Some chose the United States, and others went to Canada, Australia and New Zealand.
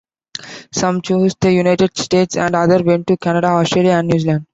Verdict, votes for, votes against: rejected, 0, 2